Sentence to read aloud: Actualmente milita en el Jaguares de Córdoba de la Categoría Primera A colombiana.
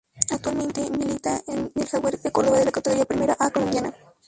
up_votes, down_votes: 4, 0